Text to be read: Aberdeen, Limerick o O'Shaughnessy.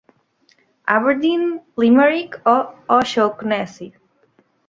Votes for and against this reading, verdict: 2, 0, accepted